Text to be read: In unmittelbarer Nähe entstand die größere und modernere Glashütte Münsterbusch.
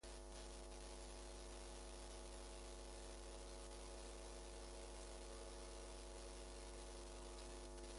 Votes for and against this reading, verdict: 0, 2, rejected